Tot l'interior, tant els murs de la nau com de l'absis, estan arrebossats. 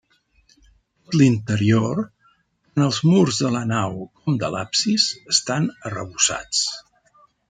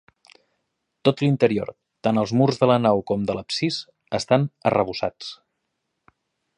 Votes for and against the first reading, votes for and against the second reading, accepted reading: 0, 2, 2, 0, second